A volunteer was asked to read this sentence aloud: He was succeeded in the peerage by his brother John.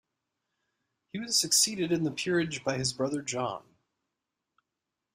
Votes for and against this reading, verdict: 2, 0, accepted